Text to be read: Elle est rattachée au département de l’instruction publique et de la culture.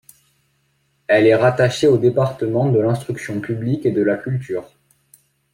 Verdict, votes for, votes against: accepted, 2, 0